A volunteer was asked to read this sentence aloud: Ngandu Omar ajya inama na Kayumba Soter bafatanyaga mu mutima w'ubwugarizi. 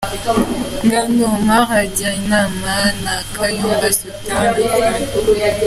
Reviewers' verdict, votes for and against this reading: rejected, 0, 2